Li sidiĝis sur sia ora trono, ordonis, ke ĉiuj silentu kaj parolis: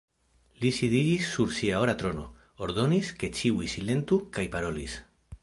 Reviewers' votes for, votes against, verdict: 2, 1, accepted